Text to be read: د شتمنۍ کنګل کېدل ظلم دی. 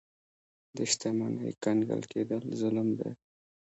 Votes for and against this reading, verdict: 0, 2, rejected